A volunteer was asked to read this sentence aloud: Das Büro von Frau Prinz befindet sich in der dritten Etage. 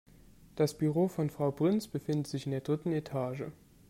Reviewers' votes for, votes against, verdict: 1, 2, rejected